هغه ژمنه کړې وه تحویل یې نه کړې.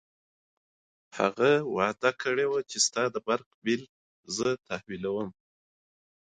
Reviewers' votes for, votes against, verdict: 2, 0, accepted